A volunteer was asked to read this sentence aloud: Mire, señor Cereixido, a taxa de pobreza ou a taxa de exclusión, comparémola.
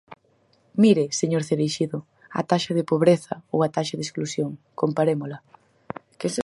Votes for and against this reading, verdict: 2, 4, rejected